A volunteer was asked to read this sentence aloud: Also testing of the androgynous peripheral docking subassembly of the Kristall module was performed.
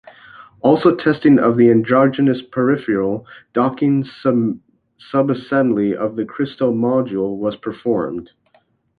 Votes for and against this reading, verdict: 1, 2, rejected